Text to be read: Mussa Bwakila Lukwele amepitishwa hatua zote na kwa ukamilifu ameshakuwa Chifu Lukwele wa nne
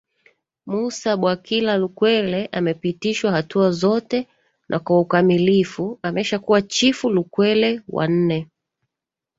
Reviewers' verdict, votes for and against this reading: accepted, 2, 0